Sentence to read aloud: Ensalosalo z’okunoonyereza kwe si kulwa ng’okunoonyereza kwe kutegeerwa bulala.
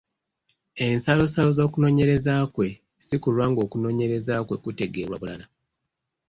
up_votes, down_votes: 2, 0